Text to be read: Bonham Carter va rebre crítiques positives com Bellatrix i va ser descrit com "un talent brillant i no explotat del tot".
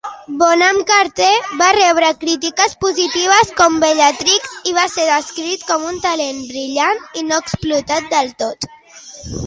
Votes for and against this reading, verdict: 2, 1, accepted